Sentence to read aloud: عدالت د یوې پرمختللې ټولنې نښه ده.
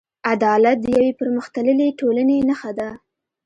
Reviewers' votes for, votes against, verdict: 2, 0, accepted